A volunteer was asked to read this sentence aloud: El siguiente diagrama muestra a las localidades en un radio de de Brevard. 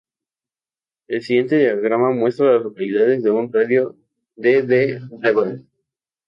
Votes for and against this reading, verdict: 2, 0, accepted